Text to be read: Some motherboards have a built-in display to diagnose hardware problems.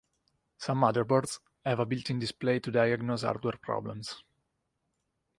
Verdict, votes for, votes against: rejected, 0, 2